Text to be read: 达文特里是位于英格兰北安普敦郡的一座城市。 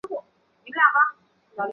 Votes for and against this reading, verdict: 3, 5, rejected